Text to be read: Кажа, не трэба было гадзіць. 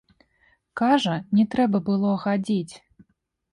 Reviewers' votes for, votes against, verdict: 0, 2, rejected